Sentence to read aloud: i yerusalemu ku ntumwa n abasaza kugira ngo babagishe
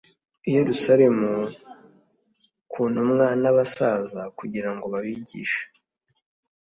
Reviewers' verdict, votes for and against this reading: accepted, 2, 0